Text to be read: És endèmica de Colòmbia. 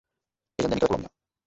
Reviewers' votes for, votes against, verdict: 0, 2, rejected